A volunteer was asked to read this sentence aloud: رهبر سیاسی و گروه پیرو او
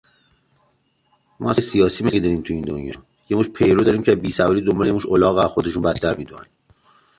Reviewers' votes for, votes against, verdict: 0, 2, rejected